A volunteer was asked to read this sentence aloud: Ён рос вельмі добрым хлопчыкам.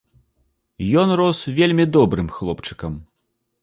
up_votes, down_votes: 2, 0